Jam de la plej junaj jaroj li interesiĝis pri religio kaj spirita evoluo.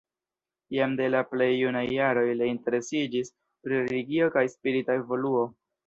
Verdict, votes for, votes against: rejected, 1, 2